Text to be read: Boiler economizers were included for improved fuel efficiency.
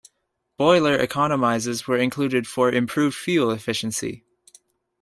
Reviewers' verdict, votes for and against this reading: accepted, 2, 0